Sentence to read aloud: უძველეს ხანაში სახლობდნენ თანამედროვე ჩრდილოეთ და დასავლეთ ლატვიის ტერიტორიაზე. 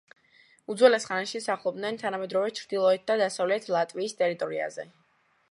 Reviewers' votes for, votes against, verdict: 2, 1, accepted